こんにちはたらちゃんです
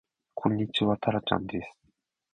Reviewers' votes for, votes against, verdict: 1, 2, rejected